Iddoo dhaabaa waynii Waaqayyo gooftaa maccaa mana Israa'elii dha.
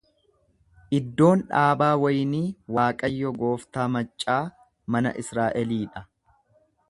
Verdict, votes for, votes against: rejected, 1, 2